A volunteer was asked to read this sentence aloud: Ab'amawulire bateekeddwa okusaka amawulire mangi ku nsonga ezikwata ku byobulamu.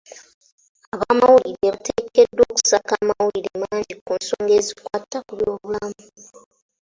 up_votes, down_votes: 1, 2